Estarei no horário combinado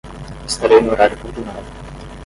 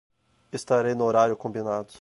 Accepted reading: second